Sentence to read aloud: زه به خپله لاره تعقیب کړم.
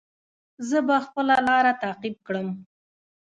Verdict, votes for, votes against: rejected, 0, 2